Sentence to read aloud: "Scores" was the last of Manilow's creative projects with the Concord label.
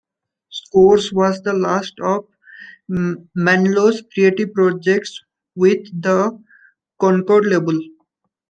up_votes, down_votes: 2, 1